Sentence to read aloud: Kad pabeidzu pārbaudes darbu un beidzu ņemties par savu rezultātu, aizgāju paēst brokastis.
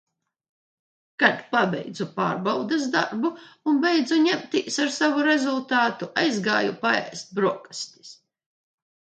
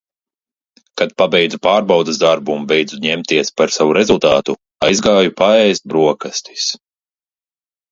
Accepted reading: second